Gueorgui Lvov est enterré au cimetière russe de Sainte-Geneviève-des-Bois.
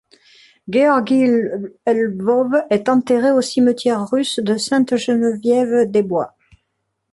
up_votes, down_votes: 1, 2